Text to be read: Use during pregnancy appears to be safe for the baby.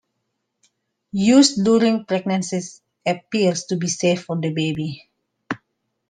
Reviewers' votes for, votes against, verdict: 1, 2, rejected